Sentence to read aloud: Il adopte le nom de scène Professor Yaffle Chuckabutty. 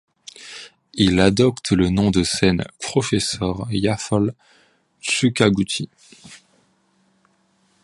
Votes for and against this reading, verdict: 2, 1, accepted